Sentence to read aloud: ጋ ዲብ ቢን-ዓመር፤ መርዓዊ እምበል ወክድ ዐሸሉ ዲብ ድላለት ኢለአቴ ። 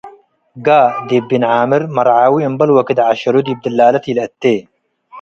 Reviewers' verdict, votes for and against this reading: accepted, 2, 0